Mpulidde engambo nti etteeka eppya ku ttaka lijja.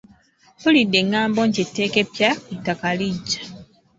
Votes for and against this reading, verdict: 0, 2, rejected